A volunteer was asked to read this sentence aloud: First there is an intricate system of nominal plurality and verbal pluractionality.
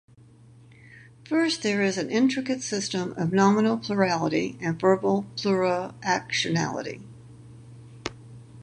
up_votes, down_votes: 2, 2